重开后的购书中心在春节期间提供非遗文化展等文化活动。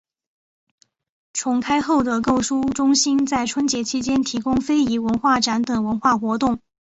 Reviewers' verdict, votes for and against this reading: accepted, 5, 0